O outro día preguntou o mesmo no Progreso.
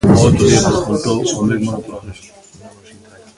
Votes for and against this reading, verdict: 0, 2, rejected